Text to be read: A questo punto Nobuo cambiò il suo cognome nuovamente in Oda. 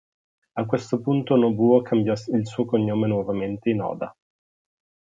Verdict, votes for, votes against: rejected, 0, 2